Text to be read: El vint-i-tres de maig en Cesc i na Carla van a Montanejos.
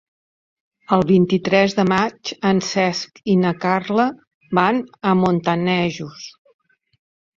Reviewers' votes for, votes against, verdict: 4, 0, accepted